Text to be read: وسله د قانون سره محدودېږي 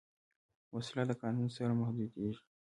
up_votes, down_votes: 1, 2